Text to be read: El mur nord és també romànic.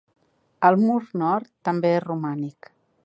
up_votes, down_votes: 1, 2